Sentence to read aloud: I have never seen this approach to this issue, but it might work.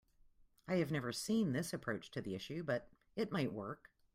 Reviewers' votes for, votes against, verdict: 2, 1, accepted